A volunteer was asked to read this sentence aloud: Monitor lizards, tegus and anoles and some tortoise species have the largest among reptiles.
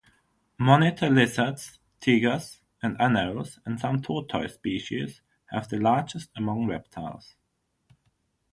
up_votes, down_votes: 3, 0